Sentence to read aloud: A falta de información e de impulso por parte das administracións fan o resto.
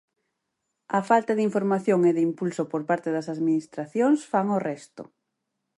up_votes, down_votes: 2, 4